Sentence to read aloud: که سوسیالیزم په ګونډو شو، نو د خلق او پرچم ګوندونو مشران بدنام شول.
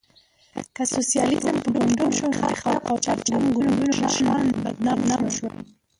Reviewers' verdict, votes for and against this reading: rejected, 1, 2